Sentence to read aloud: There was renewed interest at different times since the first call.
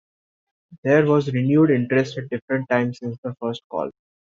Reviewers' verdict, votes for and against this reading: accepted, 2, 0